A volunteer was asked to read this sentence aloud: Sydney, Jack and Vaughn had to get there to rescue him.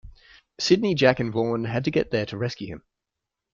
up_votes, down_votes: 1, 2